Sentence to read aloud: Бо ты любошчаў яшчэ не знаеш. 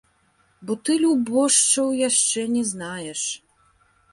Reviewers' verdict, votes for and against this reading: accepted, 2, 1